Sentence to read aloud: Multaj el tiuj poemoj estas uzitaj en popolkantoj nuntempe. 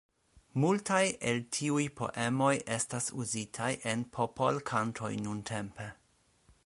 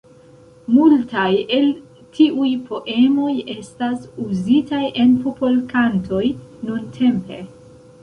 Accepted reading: first